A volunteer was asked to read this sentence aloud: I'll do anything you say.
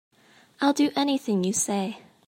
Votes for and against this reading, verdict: 2, 0, accepted